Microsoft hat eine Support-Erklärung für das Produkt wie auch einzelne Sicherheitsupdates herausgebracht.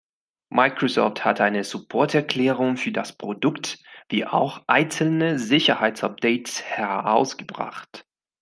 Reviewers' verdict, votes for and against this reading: accepted, 3, 0